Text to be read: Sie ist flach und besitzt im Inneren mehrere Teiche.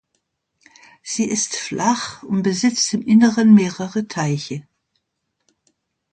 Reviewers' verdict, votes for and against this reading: accepted, 2, 0